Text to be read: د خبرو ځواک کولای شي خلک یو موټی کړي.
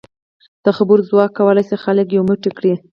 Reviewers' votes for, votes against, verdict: 4, 0, accepted